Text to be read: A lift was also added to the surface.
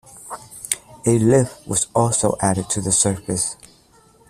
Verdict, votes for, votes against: accepted, 2, 0